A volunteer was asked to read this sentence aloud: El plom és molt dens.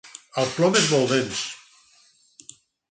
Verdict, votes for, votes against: rejected, 2, 4